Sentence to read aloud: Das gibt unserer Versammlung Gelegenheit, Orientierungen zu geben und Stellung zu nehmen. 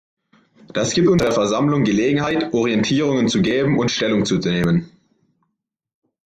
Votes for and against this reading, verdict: 2, 0, accepted